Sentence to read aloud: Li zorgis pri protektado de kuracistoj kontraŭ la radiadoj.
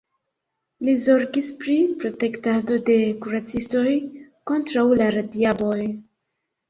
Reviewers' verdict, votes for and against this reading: accepted, 2, 0